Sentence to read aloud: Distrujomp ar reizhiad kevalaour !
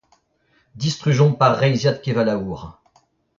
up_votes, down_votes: 0, 2